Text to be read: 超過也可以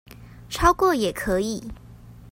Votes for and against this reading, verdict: 2, 0, accepted